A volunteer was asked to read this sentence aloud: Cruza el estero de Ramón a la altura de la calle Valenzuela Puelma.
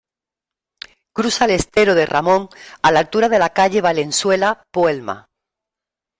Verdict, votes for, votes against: accepted, 3, 1